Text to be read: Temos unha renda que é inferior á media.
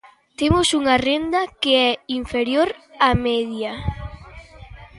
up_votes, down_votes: 1, 2